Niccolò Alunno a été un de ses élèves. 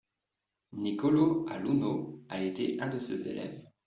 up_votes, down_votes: 2, 0